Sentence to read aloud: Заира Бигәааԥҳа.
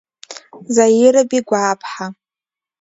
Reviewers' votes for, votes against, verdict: 3, 2, accepted